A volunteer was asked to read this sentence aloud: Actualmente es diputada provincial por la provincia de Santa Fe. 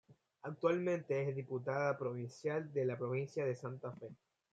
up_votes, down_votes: 0, 2